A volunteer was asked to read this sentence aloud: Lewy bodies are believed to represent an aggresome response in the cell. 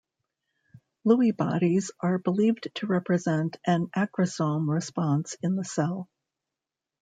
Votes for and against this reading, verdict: 2, 0, accepted